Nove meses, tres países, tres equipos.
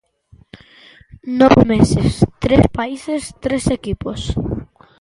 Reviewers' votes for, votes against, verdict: 2, 0, accepted